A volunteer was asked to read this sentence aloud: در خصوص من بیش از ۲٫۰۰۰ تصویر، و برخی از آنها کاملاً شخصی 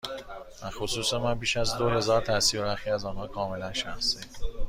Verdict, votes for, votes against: rejected, 0, 2